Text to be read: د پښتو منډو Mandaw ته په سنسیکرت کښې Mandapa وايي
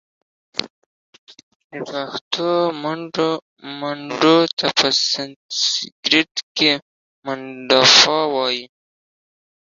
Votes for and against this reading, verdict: 1, 2, rejected